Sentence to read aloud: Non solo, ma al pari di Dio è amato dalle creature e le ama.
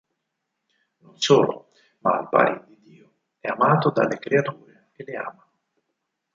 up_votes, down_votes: 2, 4